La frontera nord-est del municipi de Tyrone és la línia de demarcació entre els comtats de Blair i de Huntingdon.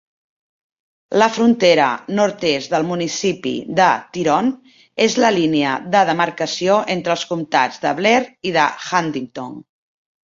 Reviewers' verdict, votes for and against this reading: accepted, 2, 0